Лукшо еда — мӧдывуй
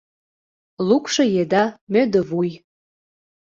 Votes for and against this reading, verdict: 2, 0, accepted